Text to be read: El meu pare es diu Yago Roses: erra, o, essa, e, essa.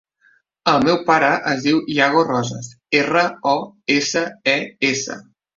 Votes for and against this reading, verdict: 2, 0, accepted